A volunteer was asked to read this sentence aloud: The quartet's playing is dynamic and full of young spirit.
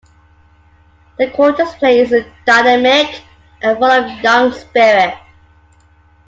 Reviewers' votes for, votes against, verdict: 2, 0, accepted